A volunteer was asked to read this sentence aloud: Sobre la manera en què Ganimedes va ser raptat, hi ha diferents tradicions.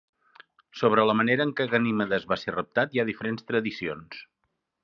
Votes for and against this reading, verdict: 2, 0, accepted